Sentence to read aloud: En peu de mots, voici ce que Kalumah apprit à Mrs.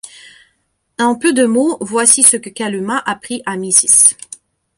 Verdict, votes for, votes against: accepted, 2, 0